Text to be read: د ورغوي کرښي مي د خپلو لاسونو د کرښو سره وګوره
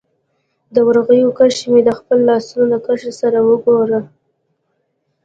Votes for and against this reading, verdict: 2, 0, accepted